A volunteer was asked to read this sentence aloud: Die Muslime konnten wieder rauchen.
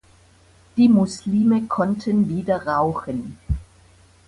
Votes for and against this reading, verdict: 2, 0, accepted